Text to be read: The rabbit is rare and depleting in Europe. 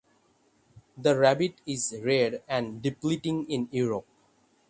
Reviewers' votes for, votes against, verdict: 6, 0, accepted